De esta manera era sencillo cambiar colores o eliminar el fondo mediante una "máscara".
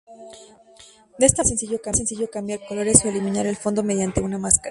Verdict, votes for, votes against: rejected, 0, 2